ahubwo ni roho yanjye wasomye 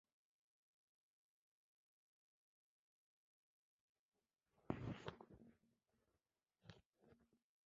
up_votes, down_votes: 0, 2